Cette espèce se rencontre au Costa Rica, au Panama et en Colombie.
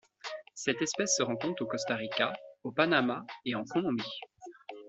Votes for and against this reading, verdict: 2, 0, accepted